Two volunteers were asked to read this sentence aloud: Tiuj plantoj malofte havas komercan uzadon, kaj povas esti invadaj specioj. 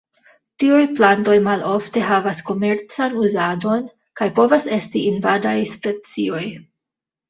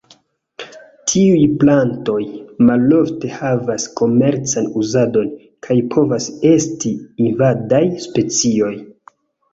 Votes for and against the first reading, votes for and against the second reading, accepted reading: 1, 2, 2, 0, second